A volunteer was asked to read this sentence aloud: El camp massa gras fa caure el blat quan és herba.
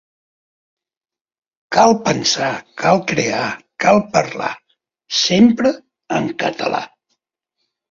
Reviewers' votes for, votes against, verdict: 1, 2, rejected